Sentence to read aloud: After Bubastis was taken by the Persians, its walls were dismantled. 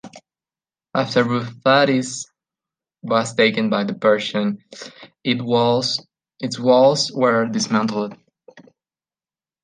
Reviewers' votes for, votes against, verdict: 0, 2, rejected